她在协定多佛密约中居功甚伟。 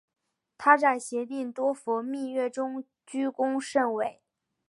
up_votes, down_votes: 2, 0